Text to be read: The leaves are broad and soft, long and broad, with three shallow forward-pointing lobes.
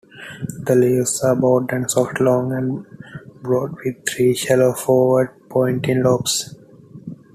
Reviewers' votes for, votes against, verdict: 2, 0, accepted